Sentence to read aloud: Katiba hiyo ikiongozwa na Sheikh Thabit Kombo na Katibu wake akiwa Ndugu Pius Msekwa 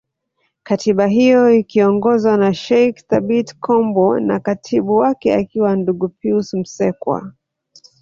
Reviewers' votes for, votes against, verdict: 4, 0, accepted